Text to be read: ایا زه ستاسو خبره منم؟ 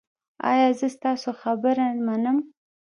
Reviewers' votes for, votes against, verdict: 1, 2, rejected